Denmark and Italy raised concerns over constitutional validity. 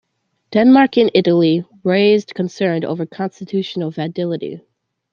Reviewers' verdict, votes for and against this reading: accepted, 2, 1